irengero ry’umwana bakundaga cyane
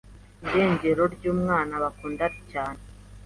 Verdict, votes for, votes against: accepted, 3, 0